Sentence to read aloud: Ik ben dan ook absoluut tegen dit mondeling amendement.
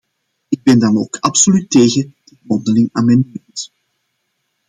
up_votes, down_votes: 0, 2